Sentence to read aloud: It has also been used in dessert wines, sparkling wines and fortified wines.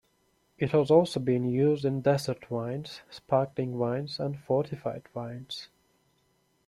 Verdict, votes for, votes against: rejected, 0, 2